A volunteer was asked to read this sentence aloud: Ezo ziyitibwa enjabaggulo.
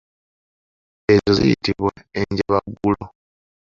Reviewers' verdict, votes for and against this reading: rejected, 1, 2